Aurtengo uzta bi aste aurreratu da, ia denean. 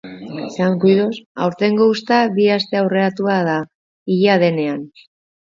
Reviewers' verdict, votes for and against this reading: rejected, 1, 2